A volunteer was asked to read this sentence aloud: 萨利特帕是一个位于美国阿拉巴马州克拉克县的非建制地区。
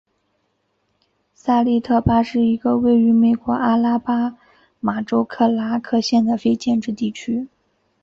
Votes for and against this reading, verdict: 3, 0, accepted